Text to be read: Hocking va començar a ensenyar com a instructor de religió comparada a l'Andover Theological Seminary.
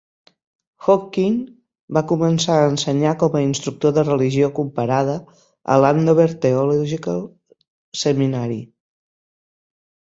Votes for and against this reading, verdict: 2, 4, rejected